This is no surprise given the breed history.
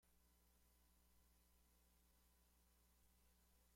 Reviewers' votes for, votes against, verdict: 0, 2, rejected